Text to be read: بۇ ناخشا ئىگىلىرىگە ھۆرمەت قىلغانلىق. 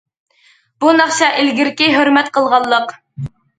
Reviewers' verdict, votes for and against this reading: rejected, 0, 2